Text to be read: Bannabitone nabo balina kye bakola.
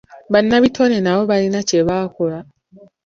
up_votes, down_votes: 3, 4